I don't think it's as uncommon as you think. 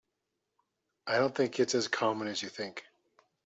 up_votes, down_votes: 0, 2